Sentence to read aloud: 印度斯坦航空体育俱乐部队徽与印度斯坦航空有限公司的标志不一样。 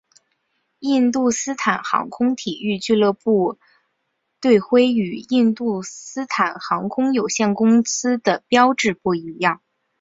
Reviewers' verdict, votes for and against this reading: accepted, 3, 1